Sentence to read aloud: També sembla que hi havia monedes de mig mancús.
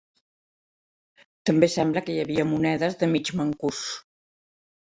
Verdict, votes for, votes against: accepted, 2, 0